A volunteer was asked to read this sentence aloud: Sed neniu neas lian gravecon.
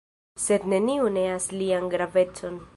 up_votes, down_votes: 2, 0